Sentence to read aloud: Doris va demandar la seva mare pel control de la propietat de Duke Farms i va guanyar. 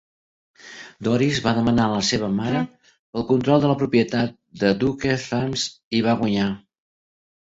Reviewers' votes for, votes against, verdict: 2, 1, accepted